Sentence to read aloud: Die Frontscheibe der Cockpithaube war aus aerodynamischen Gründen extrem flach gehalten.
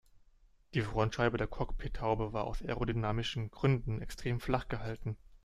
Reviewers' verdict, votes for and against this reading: accepted, 2, 0